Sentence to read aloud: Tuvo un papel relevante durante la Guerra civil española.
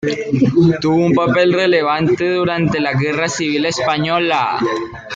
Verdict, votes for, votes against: accepted, 2, 0